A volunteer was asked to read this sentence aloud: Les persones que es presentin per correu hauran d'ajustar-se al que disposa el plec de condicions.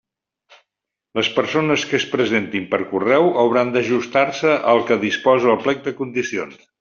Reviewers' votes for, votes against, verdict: 3, 0, accepted